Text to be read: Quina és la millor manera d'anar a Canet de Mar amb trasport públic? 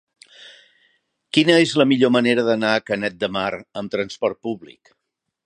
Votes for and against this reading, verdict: 3, 0, accepted